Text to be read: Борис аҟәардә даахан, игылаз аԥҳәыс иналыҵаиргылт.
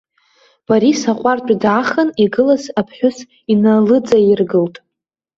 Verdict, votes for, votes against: accepted, 2, 0